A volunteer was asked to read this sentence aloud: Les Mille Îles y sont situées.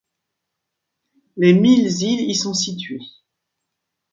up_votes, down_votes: 1, 2